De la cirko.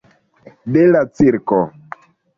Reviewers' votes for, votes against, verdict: 1, 2, rejected